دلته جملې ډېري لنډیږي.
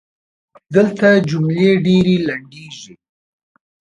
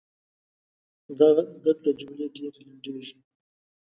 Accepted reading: first